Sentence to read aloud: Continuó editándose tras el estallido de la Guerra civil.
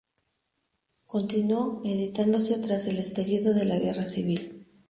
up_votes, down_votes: 0, 2